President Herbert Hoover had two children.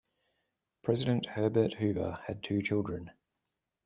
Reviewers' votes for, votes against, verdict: 2, 0, accepted